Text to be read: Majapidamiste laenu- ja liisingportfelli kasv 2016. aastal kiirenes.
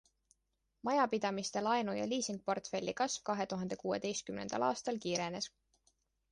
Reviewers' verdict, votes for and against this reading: rejected, 0, 2